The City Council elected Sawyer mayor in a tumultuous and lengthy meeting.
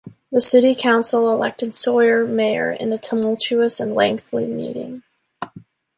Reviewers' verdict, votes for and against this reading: rejected, 0, 2